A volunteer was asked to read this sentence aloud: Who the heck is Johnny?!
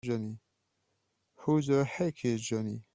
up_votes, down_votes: 0, 2